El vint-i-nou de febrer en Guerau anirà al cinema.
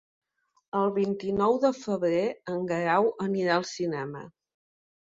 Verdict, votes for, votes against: accepted, 2, 0